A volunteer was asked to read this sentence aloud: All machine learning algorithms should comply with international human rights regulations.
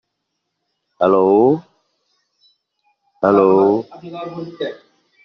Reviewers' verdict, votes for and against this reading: rejected, 0, 3